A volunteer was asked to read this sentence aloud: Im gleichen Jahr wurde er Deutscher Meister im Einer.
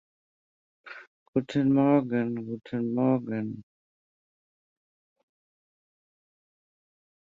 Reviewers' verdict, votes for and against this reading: rejected, 0, 2